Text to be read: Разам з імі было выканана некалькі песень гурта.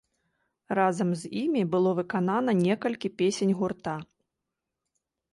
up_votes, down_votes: 0, 2